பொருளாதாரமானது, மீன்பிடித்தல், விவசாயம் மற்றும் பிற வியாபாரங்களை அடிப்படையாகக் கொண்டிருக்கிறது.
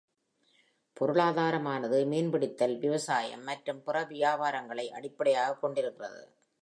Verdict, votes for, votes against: accepted, 2, 0